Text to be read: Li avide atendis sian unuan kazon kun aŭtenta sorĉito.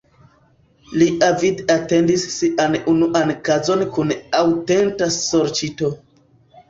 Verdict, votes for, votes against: accepted, 2, 1